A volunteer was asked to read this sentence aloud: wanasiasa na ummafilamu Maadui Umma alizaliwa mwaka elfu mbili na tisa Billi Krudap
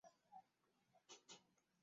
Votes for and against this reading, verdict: 0, 2, rejected